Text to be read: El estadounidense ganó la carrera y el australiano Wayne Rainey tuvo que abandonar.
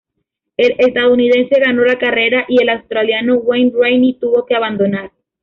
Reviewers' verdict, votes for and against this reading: rejected, 1, 2